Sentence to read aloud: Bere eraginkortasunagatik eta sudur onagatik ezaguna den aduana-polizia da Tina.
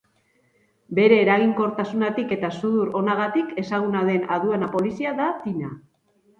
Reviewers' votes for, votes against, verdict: 2, 2, rejected